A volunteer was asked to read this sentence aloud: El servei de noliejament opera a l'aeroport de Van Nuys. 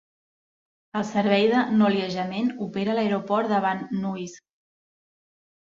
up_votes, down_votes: 2, 0